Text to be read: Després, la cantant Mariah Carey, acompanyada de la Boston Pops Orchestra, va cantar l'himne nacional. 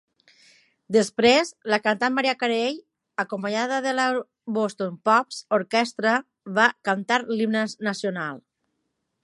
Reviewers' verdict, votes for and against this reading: rejected, 0, 3